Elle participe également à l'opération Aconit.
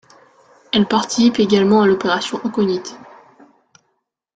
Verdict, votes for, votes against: rejected, 1, 2